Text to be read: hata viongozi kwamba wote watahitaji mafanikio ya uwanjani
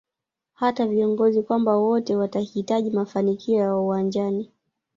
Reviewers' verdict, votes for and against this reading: rejected, 1, 2